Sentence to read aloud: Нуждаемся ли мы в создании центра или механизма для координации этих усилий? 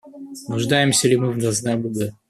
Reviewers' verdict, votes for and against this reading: rejected, 0, 2